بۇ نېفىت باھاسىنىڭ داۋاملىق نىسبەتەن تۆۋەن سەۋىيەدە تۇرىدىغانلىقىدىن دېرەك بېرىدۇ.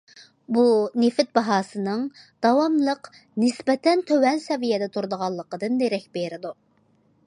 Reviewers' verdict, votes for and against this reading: accepted, 2, 0